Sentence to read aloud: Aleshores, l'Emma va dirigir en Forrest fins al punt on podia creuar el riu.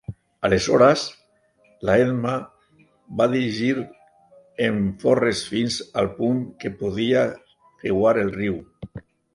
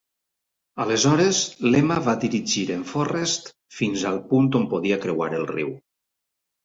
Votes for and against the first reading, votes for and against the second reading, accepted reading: 0, 3, 2, 0, second